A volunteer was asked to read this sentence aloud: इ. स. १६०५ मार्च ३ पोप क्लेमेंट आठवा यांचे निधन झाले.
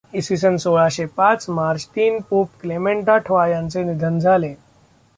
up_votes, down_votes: 0, 2